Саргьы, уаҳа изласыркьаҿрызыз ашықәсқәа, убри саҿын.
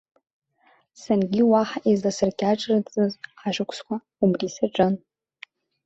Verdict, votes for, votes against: rejected, 1, 2